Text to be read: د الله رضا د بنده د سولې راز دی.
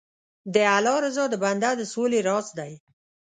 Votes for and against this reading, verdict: 2, 0, accepted